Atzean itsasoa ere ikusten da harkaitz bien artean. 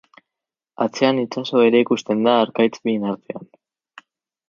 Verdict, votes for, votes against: rejected, 2, 2